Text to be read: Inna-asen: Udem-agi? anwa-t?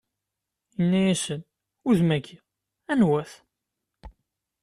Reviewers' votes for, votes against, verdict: 2, 0, accepted